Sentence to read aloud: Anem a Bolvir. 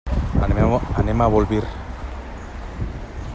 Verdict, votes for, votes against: accepted, 3, 0